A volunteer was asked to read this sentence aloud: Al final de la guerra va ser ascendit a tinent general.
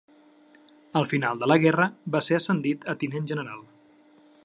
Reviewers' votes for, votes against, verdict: 3, 0, accepted